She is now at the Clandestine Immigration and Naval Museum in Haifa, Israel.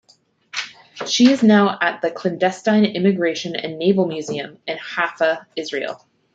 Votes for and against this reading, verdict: 1, 2, rejected